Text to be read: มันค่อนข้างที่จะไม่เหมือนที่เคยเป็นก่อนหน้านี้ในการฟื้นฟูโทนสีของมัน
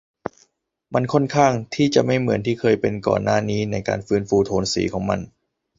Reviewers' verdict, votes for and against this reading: accepted, 2, 0